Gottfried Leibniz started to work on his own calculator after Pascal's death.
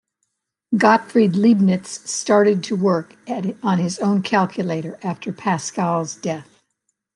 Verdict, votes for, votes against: rejected, 1, 2